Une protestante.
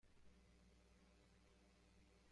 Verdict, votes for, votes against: rejected, 0, 2